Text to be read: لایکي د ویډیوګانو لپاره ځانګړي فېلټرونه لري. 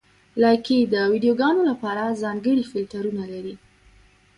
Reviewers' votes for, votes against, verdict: 2, 0, accepted